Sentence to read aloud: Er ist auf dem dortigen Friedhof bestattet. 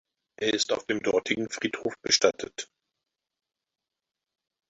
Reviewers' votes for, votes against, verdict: 4, 2, accepted